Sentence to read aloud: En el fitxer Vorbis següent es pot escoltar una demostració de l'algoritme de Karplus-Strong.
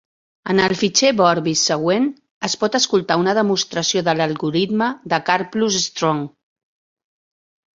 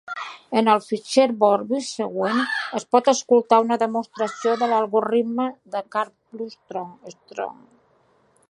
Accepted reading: first